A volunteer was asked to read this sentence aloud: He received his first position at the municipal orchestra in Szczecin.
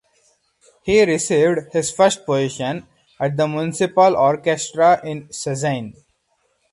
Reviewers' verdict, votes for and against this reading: accepted, 4, 0